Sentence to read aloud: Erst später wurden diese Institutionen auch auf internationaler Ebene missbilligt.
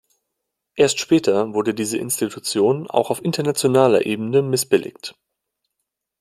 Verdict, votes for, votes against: rejected, 0, 2